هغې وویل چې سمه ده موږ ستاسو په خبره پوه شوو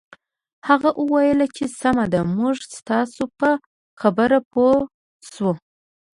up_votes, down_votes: 2, 0